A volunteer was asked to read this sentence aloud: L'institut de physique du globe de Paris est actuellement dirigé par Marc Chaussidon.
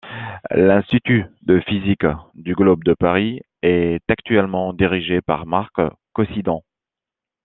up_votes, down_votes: 0, 2